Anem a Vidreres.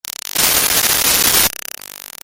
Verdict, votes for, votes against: rejected, 0, 2